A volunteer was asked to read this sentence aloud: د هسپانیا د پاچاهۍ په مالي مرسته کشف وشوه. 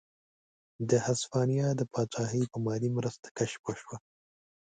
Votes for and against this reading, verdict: 2, 0, accepted